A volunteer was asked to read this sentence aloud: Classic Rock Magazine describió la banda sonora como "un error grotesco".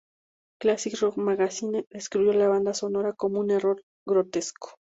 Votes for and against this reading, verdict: 2, 0, accepted